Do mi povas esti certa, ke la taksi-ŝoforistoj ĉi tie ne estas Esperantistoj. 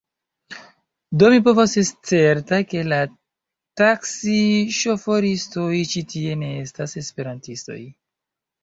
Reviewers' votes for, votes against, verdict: 2, 1, accepted